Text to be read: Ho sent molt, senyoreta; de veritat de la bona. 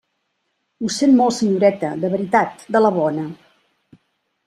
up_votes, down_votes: 3, 0